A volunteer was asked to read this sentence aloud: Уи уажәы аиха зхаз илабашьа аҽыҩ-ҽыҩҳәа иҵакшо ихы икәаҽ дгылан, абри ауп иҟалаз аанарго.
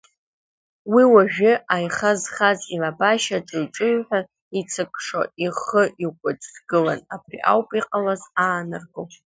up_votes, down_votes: 1, 2